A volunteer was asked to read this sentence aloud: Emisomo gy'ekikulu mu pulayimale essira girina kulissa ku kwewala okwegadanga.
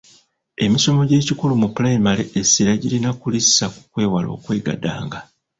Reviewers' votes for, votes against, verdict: 1, 2, rejected